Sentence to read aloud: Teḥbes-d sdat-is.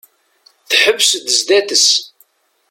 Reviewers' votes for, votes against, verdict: 2, 0, accepted